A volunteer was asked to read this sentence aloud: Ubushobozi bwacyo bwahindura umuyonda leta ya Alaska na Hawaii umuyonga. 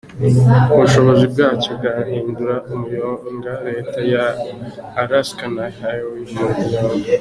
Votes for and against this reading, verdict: 3, 0, accepted